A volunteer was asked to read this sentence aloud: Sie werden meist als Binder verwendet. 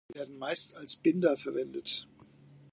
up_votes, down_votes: 1, 2